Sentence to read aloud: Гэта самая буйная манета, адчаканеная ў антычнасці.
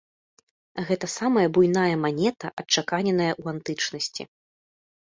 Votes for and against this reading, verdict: 2, 0, accepted